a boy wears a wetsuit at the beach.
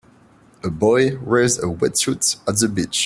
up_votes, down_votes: 2, 0